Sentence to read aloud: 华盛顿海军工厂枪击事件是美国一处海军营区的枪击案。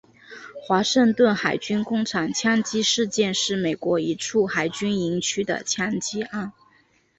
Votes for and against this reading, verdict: 3, 0, accepted